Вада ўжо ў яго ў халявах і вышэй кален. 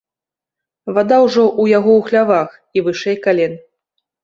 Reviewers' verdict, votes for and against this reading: rejected, 1, 2